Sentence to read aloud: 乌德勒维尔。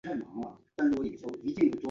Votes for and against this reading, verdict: 0, 2, rejected